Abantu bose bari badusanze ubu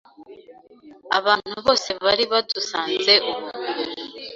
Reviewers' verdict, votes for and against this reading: accepted, 2, 0